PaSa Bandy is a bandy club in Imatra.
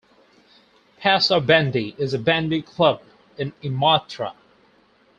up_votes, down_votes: 4, 0